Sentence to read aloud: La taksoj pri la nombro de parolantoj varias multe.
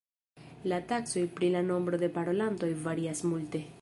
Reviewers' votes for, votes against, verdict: 2, 0, accepted